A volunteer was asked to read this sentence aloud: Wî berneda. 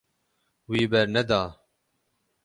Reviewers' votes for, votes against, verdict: 6, 6, rejected